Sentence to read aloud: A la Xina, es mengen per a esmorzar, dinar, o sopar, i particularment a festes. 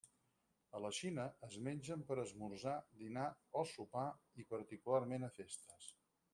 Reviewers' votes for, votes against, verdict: 2, 4, rejected